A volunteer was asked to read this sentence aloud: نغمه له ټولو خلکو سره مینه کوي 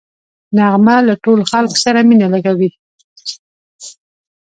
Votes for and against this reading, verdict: 2, 1, accepted